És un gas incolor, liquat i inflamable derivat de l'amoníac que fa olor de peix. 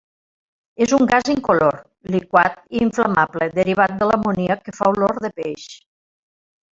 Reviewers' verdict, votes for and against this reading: accepted, 3, 0